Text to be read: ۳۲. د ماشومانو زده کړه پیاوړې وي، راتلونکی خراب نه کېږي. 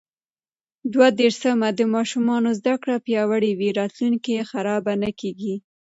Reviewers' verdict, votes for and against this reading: rejected, 0, 2